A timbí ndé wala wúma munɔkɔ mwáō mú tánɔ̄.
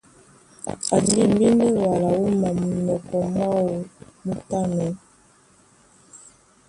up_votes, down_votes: 1, 2